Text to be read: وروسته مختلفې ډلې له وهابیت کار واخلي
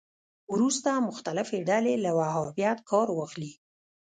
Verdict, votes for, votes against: rejected, 1, 2